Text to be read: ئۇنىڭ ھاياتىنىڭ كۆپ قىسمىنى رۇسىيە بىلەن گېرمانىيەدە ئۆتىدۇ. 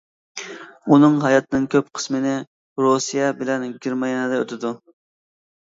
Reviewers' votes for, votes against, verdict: 1, 2, rejected